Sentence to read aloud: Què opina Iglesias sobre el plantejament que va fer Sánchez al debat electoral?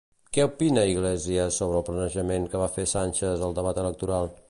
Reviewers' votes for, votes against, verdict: 0, 2, rejected